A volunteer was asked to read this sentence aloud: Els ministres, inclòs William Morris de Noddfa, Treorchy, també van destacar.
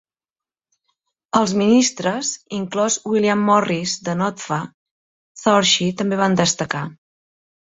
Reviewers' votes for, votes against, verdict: 2, 1, accepted